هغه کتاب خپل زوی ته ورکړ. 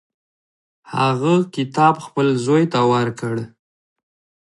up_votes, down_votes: 1, 2